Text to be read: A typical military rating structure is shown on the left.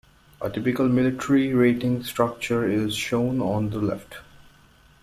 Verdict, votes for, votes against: accepted, 2, 0